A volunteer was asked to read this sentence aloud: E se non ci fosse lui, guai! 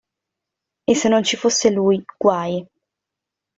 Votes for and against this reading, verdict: 2, 0, accepted